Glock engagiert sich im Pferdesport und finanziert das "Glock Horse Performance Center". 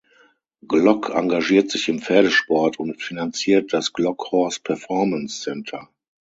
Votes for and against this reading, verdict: 6, 0, accepted